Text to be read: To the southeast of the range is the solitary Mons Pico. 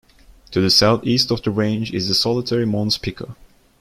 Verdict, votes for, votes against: rejected, 0, 2